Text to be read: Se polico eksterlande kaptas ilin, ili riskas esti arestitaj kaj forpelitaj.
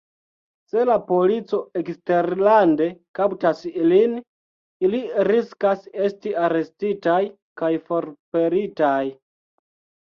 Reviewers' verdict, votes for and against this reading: rejected, 0, 2